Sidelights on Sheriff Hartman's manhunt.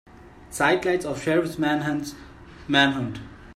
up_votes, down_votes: 0, 2